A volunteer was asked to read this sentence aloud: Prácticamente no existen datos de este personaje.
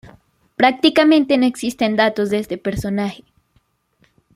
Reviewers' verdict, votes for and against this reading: accepted, 2, 1